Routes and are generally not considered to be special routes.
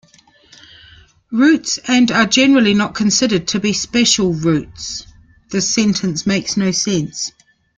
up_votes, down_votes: 0, 2